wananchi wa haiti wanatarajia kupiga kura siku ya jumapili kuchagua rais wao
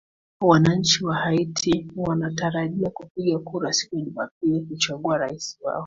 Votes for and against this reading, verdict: 3, 1, accepted